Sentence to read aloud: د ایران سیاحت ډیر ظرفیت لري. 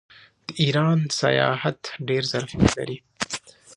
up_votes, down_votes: 2, 0